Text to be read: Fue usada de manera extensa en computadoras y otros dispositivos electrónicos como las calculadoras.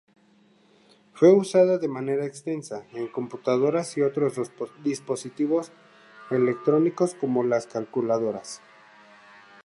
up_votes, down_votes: 0, 2